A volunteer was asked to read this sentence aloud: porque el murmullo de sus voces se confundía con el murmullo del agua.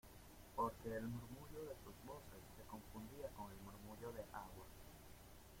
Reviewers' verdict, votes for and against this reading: rejected, 0, 2